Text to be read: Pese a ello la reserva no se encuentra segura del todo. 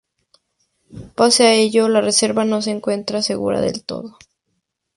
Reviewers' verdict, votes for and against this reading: accepted, 2, 0